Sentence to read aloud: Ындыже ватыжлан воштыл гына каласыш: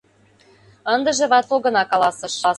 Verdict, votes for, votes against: rejected, 0, 2